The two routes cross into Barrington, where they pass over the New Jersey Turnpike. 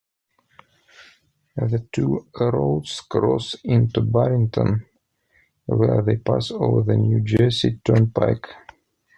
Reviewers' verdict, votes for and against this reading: rejected, 1, 2